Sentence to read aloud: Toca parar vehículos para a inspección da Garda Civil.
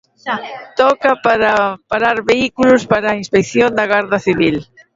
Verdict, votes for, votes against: rejected, 0, 2